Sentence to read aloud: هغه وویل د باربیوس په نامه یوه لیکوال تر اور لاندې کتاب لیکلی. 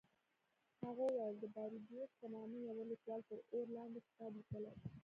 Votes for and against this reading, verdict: 2, 1, accepted